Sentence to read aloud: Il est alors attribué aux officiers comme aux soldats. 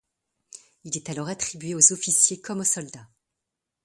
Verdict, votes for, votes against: accepted, 3, 0